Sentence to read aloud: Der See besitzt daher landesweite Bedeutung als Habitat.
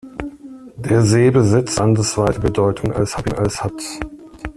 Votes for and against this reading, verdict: 0, 2, rejected